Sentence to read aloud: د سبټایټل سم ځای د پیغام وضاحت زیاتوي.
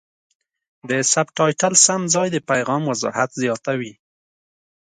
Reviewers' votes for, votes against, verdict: 2, 0, accepted